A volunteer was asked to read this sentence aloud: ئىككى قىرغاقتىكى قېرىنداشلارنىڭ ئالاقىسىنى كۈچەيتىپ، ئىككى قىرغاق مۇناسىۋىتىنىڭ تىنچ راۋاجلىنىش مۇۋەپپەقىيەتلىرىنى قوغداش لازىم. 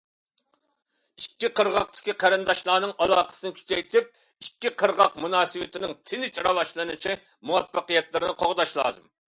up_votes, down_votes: 0, 2